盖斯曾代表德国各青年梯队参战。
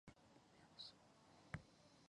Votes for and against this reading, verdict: 0, 2, rejected